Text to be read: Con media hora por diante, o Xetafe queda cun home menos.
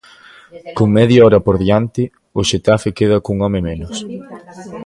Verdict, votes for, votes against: accepted, 2, 0